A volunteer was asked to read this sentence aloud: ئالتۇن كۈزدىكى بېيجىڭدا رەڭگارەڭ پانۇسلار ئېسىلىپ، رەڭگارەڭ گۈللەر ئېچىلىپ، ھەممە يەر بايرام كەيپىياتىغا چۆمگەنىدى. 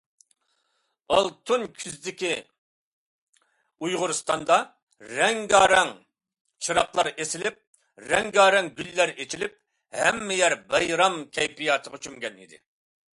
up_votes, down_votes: 0, 2